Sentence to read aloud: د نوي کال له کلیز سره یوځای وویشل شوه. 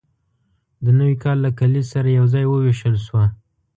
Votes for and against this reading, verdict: 2, 0, accepted